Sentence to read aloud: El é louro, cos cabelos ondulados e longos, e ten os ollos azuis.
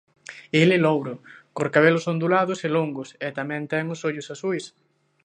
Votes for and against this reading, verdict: 0, 2, rejected